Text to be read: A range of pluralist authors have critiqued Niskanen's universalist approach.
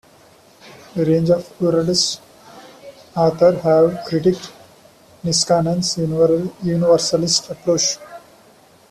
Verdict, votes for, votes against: rejected, 0, 2